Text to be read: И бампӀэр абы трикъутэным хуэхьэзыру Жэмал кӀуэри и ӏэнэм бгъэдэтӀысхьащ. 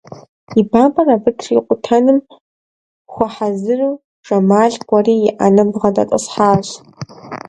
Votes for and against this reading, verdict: 2, 0, accepted